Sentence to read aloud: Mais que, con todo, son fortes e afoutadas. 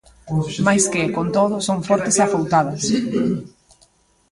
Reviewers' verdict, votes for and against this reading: rejected, 0, 2